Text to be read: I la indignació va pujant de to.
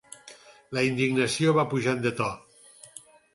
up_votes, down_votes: 4, 2